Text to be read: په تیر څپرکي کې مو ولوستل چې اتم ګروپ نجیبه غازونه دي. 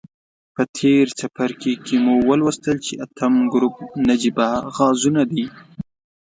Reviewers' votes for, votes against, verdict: 2, 0, accepted